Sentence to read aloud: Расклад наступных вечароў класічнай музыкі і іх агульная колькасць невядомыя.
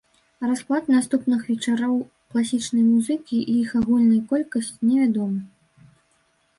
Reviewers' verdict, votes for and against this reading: rejected, 1, 2